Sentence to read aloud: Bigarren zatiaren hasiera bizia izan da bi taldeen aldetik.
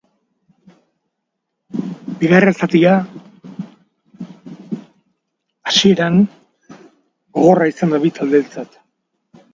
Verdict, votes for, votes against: rejected, 0, 2